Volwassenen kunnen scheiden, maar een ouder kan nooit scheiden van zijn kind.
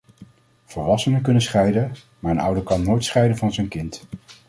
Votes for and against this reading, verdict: 2, 0, accepted